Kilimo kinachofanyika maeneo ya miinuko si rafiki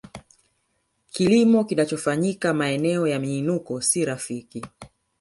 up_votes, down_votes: 2, 1